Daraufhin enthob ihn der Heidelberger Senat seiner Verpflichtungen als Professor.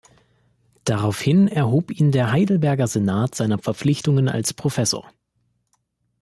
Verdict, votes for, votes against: rejected, 0, 2